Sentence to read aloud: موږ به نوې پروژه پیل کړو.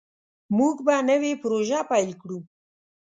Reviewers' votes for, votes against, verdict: 2, 0, accepted